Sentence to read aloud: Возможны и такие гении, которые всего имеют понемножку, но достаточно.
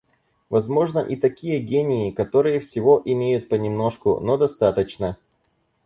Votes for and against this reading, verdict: 0, 4, rejected